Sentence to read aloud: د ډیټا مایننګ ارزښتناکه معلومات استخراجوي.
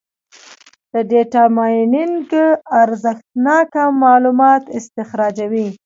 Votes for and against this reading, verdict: 2, 1, accepted